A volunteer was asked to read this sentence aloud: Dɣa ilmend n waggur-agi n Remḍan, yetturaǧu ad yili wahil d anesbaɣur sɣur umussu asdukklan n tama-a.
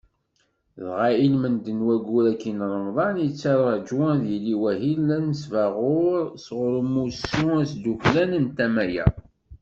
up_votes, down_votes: 2, 0